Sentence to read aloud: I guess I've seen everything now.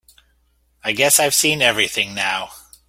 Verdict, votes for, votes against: accepted, 2, 0